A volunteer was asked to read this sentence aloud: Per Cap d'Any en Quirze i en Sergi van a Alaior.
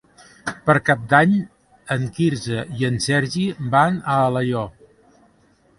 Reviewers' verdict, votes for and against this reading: accepted, 2, 0